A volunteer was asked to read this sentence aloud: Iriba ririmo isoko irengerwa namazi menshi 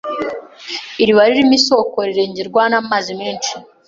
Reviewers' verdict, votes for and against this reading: accepted, 2, 1